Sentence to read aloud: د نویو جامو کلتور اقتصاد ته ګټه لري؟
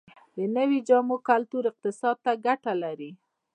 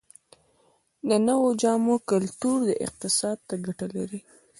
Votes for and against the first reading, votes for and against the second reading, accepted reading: 0, 2, 2, 1, second